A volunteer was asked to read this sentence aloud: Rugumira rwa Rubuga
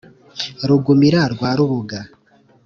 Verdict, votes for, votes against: accepted, 2, 0